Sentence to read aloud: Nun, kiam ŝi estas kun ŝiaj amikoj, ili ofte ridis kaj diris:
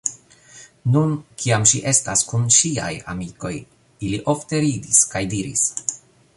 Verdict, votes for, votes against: accepted, 2, 0